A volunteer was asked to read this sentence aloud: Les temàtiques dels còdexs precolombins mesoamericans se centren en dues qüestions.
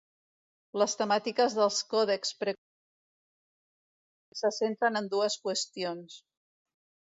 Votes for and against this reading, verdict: 0, 2, rejected